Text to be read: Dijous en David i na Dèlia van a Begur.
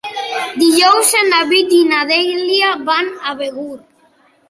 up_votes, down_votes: 3, 0